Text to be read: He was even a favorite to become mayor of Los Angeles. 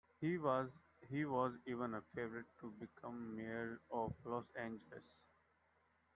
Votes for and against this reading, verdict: 2, 1, accepted